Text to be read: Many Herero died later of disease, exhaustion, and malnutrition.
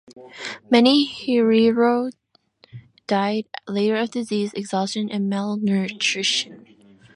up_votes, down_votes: 0, 2